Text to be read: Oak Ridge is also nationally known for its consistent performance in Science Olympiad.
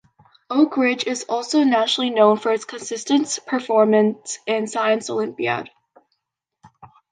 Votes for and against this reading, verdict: 0, 2, rejected